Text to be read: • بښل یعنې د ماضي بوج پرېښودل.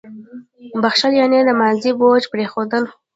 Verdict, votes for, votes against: rejected, 0, 2